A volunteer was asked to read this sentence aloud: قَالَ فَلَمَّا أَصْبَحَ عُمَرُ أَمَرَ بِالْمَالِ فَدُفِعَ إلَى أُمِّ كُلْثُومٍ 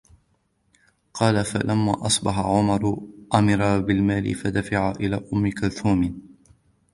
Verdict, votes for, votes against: rejected, 1, 2